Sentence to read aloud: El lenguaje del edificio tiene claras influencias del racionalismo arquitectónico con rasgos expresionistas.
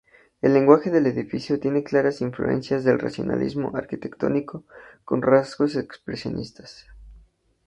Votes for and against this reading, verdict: 2, 0, accepted